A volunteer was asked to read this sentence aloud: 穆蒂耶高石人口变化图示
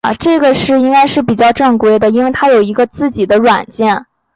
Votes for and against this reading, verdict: 0, 2, rejected